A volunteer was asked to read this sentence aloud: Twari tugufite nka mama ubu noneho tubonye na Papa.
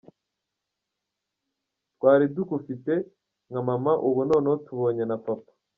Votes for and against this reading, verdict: 1, 2, rejected